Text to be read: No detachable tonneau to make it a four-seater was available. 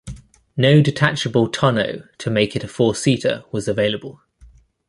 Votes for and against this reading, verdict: 2, 0, accepted